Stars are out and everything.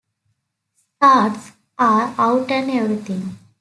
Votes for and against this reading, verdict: 2, 0, accepted